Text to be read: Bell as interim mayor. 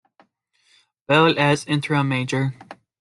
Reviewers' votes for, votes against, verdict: 0, 2, rejected